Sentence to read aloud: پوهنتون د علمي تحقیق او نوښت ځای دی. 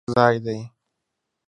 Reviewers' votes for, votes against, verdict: 0, 2, rejected